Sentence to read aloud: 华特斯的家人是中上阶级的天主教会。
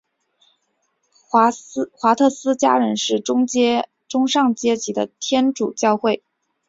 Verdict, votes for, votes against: rejected, 0, 2